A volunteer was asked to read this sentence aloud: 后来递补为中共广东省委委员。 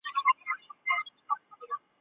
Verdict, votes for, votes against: rejected, 0, 2